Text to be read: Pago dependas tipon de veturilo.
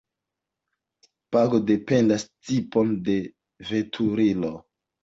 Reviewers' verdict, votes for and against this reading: accepted, 2, 1